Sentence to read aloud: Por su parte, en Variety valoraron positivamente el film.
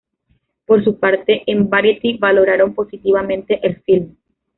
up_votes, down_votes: 1, 2